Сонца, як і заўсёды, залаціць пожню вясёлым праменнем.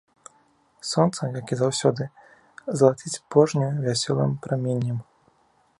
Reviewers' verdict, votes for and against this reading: accepted, 2, 0